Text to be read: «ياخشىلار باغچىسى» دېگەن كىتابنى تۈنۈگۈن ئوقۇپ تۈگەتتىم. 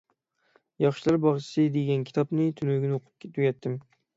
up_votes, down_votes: 3, 6